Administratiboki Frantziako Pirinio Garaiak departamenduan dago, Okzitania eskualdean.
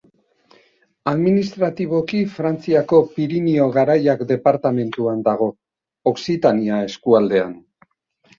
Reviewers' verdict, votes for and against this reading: accepted, 2, 0